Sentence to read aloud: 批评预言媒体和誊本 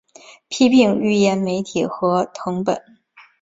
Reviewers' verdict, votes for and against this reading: accepted, 2, 1